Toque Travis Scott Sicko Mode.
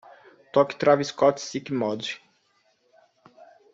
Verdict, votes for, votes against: rejected, 0, 2